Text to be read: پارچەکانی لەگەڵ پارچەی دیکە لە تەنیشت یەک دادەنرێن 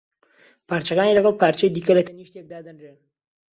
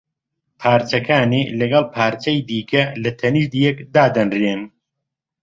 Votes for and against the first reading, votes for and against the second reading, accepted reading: 0, 2, 2, 0, second